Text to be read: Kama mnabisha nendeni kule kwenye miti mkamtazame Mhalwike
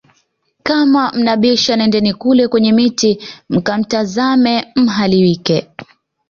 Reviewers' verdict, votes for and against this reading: accepted, 2, 0